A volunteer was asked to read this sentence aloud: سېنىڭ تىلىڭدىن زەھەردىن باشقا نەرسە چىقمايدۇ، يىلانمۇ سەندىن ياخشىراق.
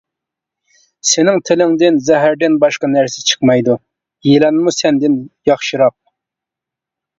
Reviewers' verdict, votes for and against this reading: accepted, 2, 0